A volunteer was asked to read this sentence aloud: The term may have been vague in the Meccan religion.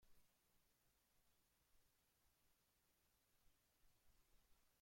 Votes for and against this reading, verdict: 1, 3, rejected